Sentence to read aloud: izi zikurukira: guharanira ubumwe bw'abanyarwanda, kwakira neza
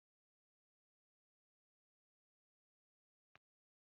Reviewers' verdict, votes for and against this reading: rejected, 0, 2